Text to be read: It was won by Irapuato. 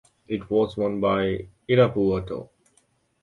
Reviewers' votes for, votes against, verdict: 2, 0, accepted